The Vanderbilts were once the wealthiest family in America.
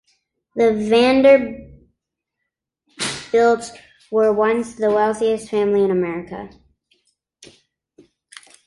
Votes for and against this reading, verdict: 0, 2, rejected